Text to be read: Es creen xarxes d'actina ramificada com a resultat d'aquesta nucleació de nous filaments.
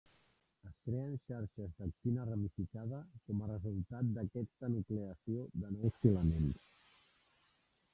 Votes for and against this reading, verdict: 0, 3, rejected